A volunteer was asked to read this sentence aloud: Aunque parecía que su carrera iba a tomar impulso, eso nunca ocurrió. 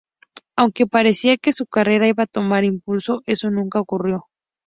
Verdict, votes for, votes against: accepted, 2, 0